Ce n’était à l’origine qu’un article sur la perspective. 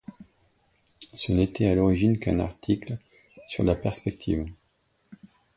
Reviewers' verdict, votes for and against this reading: accepted, 2, 0